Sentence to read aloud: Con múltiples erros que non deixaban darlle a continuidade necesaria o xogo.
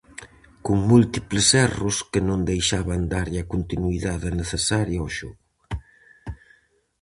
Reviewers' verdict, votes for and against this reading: accepted, 4, 0